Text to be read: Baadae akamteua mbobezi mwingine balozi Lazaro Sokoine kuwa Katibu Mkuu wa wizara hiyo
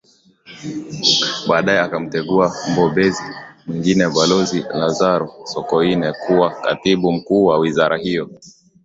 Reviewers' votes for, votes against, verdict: 2, 0, accepted